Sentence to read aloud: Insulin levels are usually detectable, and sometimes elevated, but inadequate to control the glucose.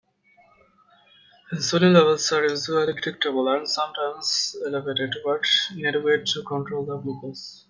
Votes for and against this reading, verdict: 1, 2, rejected